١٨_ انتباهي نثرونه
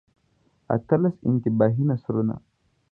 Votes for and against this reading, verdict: 0, 2, rejected